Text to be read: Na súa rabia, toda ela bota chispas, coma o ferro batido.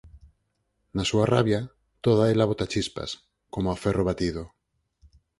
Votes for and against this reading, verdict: 4, 2, accepted